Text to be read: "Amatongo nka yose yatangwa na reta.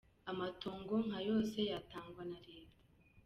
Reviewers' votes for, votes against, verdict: 2, 0, accepted